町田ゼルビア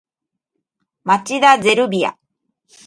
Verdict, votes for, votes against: accepted, 2, 1